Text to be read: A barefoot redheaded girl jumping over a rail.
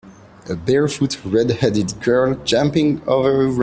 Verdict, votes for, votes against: rejected, 0, 2